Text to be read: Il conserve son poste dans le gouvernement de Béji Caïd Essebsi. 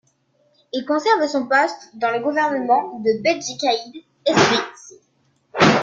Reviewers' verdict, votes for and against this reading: rejected, 1, 2